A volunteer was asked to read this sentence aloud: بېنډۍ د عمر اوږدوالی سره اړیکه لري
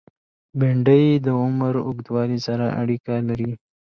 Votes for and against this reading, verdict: 2, 1, accepted